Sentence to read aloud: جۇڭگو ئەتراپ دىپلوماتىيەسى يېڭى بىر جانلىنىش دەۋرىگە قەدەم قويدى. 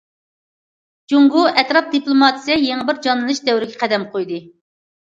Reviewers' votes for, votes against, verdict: 0, 2, rejected